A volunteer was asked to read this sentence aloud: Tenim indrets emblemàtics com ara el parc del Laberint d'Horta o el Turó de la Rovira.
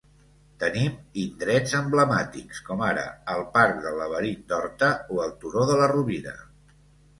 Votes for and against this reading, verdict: 2, 0, accepted